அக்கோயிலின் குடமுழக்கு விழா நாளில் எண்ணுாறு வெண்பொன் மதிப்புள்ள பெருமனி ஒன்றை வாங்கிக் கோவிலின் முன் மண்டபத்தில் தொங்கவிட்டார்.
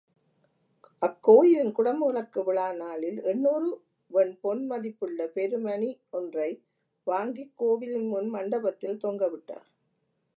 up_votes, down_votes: 2, 0